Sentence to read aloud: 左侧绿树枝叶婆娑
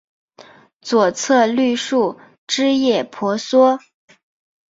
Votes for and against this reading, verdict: 10, 2, accepted